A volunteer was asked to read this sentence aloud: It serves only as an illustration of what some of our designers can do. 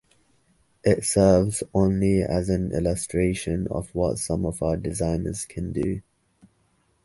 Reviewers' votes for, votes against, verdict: 2, 0, accepted